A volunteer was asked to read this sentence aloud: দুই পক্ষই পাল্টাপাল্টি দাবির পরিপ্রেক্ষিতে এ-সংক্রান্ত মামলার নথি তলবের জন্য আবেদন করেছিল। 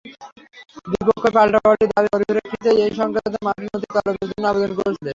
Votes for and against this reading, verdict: 0, 3, rejected